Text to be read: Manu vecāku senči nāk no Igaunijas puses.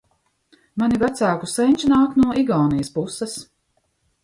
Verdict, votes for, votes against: rejected, 1, 2